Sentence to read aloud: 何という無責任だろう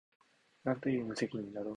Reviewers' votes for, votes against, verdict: 1, 2, rejected